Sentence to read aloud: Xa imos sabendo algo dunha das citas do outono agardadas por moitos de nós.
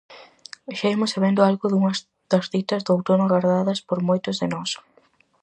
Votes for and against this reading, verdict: 2, 2, rejected